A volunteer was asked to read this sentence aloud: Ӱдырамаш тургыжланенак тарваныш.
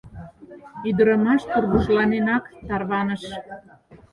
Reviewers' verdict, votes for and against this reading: rejected, 2, 4